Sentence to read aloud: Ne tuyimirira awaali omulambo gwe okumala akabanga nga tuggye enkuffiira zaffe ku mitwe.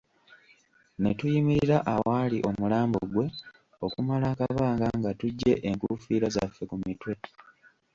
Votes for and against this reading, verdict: 1, 2, rejected